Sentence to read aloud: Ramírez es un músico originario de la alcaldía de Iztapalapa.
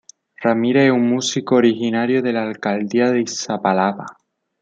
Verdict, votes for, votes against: rejected, 1, 2